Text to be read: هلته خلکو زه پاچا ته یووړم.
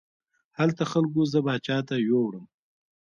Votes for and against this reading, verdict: 1, 2, rejected